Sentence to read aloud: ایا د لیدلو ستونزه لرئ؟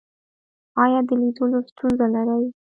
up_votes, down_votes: 0, 2